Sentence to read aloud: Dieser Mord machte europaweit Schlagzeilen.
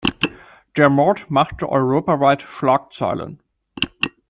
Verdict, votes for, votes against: rejected, 0, 2